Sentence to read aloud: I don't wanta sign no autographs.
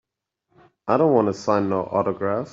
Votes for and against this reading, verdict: 2, 0, accepted